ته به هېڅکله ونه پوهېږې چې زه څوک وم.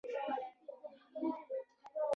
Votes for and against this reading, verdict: 1, 2, rejected